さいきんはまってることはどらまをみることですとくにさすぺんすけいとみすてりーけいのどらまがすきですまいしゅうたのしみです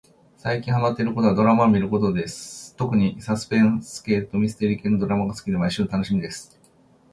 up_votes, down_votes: 0, 2